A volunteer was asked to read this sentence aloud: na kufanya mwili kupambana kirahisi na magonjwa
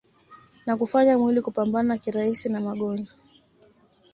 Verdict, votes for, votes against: accepted, 2, 0